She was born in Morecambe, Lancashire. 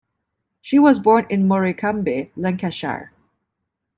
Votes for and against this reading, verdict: 1, 2, rejected